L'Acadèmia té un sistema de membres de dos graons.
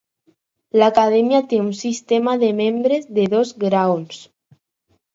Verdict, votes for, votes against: accepted, 4, 0